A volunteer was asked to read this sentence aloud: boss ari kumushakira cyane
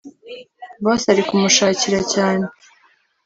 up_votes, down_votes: 2, 0